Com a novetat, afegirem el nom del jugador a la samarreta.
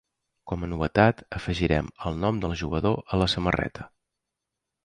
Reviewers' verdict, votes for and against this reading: accepted, 3, 0